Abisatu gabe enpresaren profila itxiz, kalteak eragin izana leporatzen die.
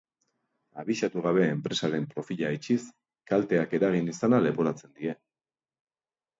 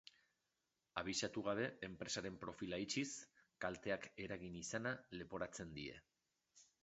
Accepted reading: first